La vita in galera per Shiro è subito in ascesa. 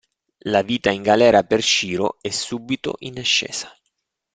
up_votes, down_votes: 2, 0